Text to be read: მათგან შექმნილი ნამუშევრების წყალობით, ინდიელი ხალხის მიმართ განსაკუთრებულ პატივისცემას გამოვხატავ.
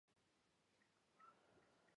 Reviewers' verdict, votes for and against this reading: rejected, 0, 2